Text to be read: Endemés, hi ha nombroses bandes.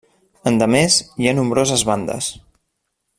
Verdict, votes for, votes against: accepted, 2, 0